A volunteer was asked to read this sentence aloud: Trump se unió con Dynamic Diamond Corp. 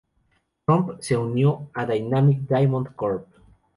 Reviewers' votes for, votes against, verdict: 0, 2, rejected